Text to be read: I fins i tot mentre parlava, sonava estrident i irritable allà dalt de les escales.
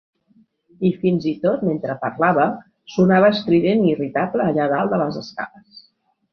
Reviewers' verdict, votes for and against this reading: accepted, 2, 0